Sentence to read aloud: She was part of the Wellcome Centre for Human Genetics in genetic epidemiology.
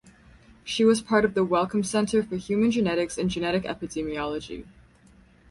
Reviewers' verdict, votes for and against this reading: accepted, 4, 0